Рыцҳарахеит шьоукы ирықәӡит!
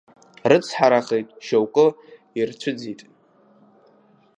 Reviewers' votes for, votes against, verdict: 0, 2, rejected